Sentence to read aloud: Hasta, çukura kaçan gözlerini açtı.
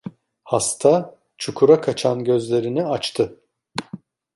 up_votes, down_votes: 2, 0